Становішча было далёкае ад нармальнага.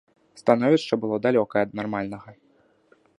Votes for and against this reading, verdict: 2, 0, accepted